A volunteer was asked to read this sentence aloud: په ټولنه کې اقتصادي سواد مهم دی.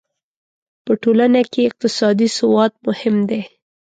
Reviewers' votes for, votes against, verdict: 2, 0, accepted